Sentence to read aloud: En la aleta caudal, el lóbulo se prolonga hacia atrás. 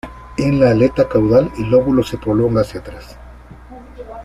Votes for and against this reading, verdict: 2, 0, accepted